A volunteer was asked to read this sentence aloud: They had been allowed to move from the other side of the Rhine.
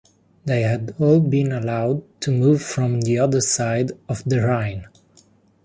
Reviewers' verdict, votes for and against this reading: accepted, 2, 0